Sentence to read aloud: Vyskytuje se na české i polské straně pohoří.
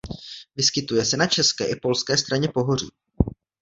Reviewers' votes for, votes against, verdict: 2, 0, accepted